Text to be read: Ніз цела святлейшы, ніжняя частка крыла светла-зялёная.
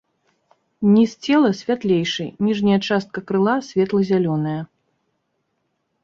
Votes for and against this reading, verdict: 2, 0, accepted